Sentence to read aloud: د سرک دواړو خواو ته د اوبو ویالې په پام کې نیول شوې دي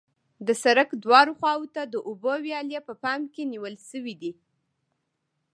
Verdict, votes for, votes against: accepted, 2, 0